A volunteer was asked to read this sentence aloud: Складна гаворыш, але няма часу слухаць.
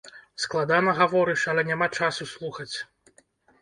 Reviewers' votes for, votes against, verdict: 1, 2, rejected